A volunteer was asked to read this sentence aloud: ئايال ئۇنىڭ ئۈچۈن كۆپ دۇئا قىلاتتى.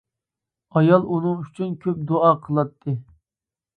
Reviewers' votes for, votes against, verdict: 2, 0, accepted